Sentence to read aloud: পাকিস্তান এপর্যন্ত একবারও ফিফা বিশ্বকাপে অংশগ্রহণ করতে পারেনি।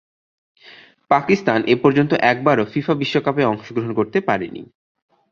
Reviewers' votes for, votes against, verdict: 0, 2, rejected